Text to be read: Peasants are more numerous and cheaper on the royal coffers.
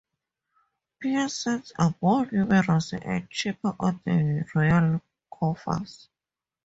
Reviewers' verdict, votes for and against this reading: rejected, 2, 2